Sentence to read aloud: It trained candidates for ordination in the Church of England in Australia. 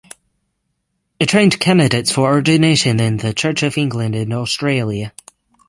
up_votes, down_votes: 3, 6